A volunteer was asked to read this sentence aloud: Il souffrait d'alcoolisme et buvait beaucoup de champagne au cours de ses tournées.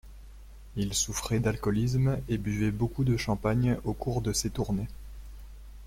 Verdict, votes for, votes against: accepted, 2, 0